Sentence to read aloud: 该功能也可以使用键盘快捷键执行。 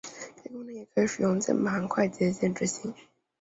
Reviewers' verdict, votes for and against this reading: accepted, 2, 0